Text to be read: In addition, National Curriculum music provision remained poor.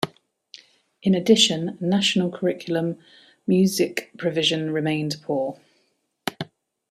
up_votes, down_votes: 2, 0